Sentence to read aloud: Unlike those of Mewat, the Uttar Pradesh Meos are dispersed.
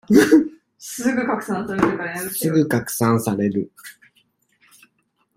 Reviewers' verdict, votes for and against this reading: rejected, 0, 2